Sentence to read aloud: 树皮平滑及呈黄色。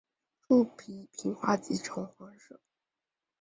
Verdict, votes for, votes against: rejected, 2, 2